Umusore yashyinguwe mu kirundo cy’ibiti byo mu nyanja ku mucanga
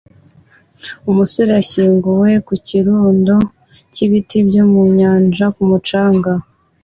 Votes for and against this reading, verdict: 3, 0, accepted